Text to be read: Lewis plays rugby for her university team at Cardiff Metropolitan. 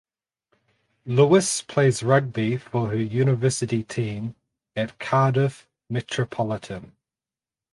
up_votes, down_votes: 4, 0